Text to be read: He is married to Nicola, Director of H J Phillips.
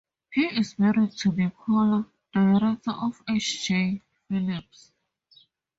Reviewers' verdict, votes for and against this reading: accepted, 2, 0